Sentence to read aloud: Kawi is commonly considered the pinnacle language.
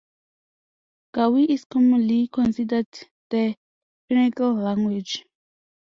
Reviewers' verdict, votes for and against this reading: accepted, 2, 0